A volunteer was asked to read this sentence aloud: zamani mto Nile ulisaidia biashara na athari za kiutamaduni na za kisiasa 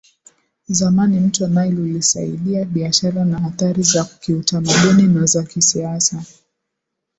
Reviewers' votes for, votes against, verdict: 5, 0, accepted